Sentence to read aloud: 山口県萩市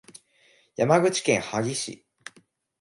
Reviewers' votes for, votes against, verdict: 2, 0, accepted